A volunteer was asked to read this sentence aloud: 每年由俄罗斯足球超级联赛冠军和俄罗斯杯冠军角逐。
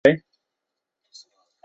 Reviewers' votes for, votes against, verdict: 0, 2, rejected